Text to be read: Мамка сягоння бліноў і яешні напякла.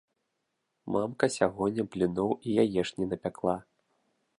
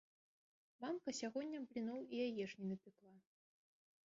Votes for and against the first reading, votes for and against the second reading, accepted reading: 2, 0, 1, 3, first